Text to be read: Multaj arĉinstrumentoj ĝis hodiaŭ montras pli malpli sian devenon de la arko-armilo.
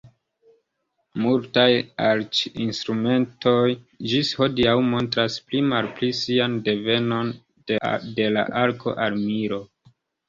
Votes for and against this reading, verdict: 2, 1, accepted